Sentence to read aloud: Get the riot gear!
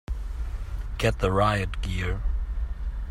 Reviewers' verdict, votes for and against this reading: accepted, 2, 0